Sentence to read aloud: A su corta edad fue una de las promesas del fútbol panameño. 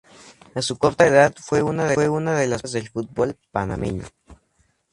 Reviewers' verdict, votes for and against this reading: rejected, 0, 2